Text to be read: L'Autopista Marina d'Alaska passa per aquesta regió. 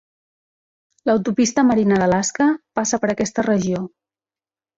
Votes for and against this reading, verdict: 2, 0, accepted